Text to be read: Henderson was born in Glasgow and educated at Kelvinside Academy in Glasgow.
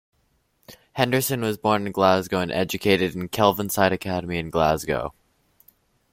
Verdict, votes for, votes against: rejected, 0, 2